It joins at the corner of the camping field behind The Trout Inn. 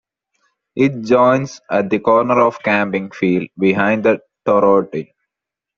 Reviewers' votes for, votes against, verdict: 0, 2, rejected